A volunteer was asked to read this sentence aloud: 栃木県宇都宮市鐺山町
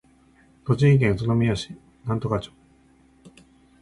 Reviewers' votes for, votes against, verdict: 1, 2, rejected